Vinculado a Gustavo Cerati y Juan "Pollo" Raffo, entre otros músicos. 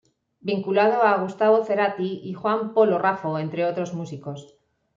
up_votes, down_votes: 0, 2